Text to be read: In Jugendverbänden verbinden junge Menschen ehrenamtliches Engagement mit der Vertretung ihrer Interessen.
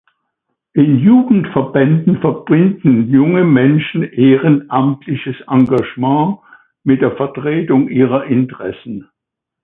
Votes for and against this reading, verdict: 2, 0, accepted